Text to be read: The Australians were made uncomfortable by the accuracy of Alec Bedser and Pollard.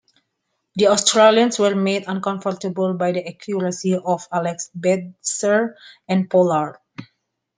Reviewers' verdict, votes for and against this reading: rejected, 0, 2